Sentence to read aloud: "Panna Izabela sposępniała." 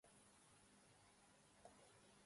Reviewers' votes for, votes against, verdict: 0, 2, rejected